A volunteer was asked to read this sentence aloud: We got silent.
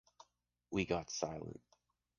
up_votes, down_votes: 2, 0